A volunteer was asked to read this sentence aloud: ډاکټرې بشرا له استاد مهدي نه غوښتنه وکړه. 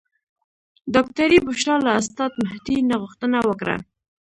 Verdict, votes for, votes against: rejected, 1, 2